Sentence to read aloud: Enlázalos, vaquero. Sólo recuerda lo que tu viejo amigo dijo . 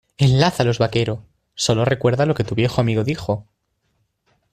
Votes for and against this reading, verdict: 2, 0, accepted